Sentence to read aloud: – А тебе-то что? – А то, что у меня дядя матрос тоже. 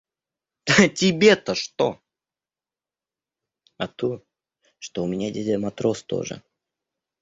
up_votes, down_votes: 2, 0